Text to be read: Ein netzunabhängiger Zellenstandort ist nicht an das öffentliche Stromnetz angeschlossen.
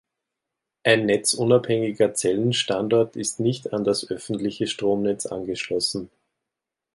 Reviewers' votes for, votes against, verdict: 2, 0, accepted